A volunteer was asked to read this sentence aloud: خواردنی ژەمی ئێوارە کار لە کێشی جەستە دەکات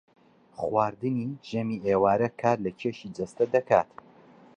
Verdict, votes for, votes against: accepted, 3, 0